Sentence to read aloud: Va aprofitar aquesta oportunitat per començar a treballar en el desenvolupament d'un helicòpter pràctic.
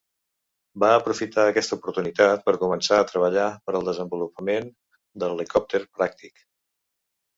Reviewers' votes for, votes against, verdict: 0, 2, rejected